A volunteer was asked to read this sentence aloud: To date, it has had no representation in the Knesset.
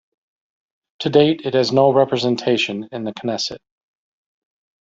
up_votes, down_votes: 1, 2